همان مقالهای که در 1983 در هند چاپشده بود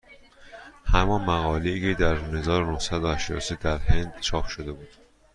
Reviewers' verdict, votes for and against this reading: rejected, 0, 2